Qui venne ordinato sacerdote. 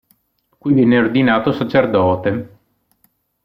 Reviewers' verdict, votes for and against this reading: accepted, 2, 1